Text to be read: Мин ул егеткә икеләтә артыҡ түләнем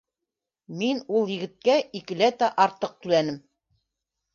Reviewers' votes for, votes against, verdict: 2, 0, accepted